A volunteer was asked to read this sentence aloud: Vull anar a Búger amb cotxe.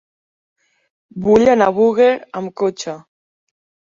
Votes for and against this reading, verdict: 1, 2, rejected